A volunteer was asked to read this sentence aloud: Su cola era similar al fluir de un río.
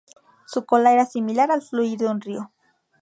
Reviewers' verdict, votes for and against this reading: accepted, 4, 0